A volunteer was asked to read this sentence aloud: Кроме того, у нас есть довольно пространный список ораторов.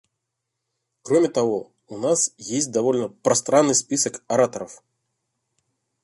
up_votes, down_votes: 2, 0